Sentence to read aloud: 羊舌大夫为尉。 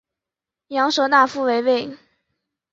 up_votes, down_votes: 2, 0